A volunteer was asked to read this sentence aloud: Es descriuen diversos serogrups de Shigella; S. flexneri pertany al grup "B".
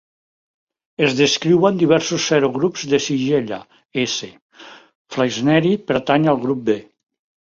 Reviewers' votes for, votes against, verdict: 2, 0, accepted